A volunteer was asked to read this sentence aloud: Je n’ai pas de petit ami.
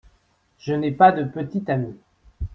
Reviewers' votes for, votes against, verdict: 2, 1, accepted